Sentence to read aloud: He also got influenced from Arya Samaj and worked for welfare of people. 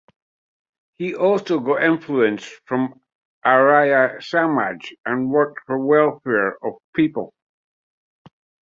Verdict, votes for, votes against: rejected, 0, 2